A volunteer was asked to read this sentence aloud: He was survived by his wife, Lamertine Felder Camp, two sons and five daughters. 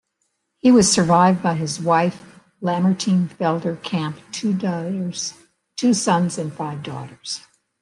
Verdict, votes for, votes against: rejected, 1, 2